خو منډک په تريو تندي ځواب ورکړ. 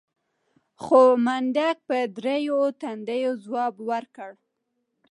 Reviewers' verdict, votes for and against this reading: accepted, 2, 0